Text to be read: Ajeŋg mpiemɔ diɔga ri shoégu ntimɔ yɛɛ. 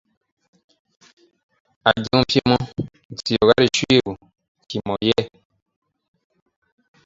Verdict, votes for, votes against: rejected, 0, 2